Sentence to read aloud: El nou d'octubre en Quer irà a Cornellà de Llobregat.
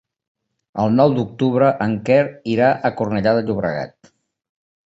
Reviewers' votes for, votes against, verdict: 4, 0, accepted